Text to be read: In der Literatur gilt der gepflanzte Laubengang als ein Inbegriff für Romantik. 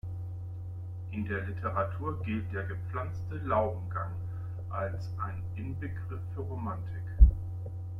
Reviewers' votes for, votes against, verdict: 2, 1, accepted